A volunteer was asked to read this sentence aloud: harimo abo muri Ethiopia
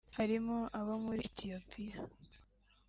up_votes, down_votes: 3, 0